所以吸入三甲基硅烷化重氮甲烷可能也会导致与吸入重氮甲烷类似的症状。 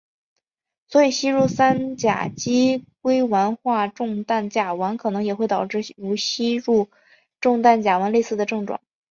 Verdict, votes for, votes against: accepted, 5, 0